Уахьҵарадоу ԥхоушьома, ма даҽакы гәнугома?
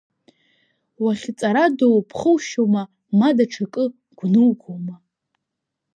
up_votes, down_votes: 2, 1